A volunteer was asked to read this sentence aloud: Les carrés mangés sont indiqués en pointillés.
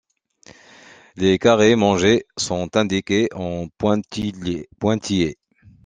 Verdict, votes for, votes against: rejected, 0, 2